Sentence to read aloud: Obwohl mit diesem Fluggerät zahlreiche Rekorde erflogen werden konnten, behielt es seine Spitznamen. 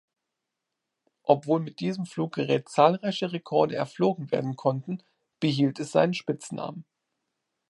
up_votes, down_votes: 0, 2